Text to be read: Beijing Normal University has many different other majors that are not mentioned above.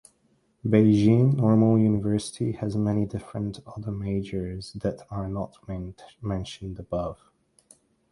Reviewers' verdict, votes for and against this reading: rejected, 0, 2